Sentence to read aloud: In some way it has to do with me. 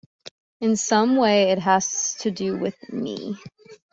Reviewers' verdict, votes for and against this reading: accepted, 2, 0